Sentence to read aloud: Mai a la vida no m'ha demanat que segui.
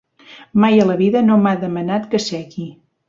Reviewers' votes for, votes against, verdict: 2, 0, accepted